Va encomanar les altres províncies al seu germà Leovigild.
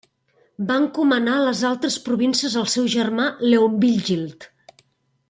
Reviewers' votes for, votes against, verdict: 0, 2, rejected